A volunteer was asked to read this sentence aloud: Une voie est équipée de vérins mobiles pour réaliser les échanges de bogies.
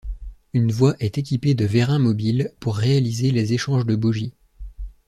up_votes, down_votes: 2, 0